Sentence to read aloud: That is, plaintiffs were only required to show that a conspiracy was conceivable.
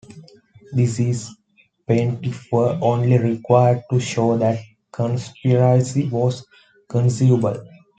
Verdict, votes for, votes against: rejected, 0, 2